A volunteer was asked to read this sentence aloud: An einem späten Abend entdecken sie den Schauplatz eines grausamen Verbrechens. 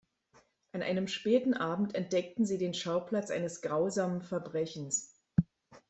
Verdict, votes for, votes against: rejected, 1, 2